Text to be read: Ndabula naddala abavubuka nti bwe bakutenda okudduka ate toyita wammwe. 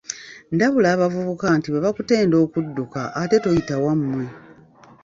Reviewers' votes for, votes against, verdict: 0, 2, rejected